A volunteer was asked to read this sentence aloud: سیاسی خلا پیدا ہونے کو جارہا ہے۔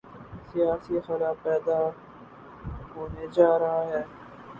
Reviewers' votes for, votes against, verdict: 0, 2, rejected